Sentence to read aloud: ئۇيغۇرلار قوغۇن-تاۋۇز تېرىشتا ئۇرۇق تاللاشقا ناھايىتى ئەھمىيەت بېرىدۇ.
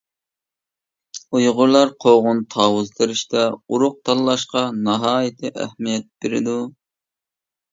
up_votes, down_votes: 2, 0